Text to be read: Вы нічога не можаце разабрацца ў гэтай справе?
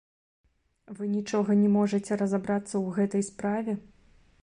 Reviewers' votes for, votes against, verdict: 2, 0, accepted